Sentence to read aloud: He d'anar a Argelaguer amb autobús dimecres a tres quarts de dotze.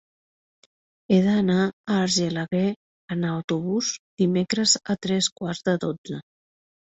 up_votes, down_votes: 2, 0